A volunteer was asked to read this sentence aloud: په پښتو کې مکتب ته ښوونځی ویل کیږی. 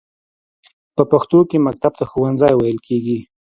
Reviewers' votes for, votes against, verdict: 2, 0, accepted